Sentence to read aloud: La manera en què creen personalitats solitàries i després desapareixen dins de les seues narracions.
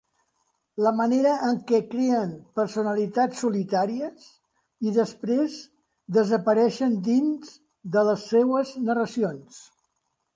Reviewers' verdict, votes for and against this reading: rejected, 1, 2